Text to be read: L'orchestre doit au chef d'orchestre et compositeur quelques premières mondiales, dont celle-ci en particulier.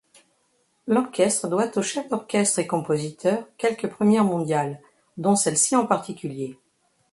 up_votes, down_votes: 2, 0